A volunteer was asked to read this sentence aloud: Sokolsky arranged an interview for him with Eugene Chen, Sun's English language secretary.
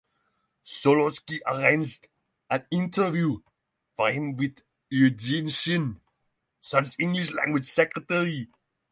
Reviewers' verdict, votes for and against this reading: rejected, 3, 3